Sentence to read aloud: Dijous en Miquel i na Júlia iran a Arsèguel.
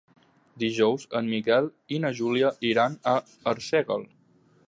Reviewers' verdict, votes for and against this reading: accepted, 3, 0